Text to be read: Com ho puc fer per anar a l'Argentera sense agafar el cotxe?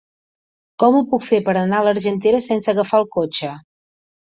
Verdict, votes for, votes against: accepted, 3, 0